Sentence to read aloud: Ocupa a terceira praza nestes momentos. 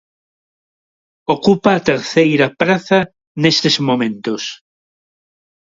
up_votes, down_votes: 2, 0